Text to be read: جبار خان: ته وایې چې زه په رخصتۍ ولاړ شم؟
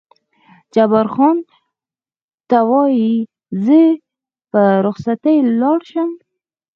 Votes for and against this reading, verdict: 0, 4, rejected